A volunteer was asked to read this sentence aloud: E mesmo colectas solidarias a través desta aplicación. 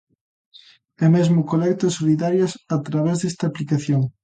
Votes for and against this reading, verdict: 2, 0, accepted